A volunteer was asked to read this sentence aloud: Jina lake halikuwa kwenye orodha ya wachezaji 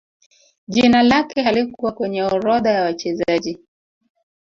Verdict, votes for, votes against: rejected, 1, 4